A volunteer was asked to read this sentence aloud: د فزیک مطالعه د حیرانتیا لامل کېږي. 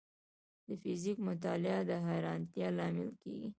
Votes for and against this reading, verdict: 2, 1, accepted